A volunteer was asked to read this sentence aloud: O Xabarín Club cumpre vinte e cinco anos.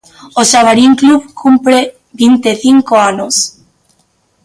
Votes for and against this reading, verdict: 2, 0, accepted